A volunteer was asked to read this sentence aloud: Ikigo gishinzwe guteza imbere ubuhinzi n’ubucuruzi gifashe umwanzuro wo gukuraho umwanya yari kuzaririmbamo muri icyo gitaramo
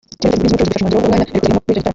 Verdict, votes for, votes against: rejected, 0, 2